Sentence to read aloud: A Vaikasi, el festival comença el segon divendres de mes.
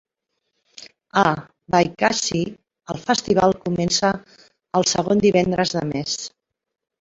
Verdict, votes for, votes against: accepted, 2, 1